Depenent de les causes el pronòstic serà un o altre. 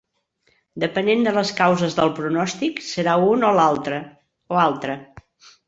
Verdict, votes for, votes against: rejected, 0, 3